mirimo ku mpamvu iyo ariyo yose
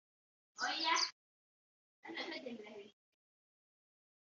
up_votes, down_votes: 2, 1